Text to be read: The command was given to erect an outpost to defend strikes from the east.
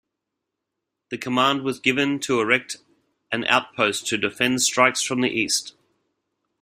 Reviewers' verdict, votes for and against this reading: rejected, 1, 2